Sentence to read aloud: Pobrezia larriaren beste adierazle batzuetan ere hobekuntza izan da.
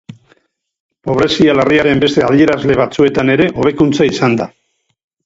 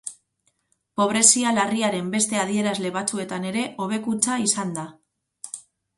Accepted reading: second